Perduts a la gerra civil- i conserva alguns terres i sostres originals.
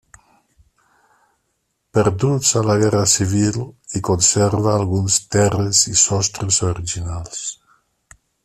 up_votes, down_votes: 1, 2